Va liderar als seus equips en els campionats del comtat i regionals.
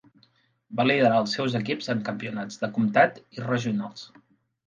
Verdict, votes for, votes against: rejected, 1, 2